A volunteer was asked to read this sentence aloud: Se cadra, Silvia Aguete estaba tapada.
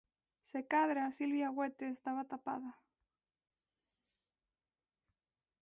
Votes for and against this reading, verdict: 0, 2, rejected